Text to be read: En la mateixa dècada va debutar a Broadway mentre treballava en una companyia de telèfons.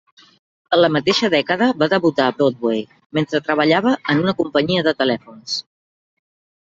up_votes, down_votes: 3, 0